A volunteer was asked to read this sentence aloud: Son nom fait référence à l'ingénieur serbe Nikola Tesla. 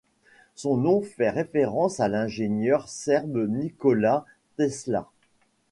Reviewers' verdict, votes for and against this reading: accepted, 2, 0